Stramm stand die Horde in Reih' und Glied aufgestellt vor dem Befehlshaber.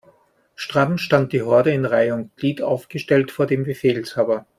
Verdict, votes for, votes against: accepted, 2, 0